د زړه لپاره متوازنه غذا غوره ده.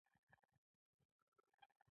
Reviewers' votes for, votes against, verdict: 1, 2, rejected